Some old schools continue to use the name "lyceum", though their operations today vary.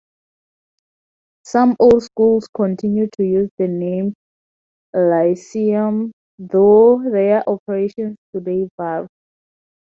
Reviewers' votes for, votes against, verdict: 0, 4, rejected